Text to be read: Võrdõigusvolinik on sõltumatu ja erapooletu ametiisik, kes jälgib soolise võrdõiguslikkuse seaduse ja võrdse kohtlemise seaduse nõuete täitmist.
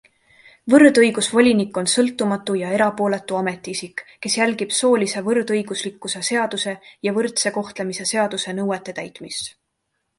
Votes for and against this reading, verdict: 2, 0, accepted